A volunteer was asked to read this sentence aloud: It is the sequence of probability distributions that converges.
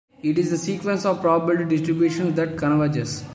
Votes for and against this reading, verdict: 2, 1, accepted